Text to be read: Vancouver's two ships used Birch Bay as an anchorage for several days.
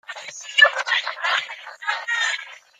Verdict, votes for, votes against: rejected, 0, 2